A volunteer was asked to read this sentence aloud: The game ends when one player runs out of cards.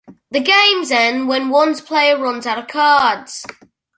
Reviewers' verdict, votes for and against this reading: rejected, 1, 2